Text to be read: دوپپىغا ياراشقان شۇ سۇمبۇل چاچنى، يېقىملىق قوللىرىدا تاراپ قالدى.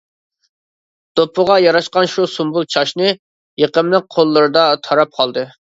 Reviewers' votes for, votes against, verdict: 2, 0, accepted